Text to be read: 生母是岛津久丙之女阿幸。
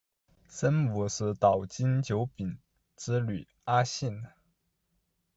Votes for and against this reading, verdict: 2, 0, accepted